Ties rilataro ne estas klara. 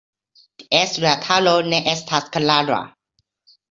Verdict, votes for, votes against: rejected, 1, 2